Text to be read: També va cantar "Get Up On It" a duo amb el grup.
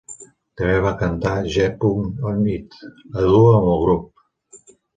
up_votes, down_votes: 1, 2